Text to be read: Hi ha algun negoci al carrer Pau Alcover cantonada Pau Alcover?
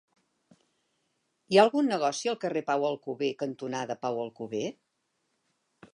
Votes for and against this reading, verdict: 3, 0, accepted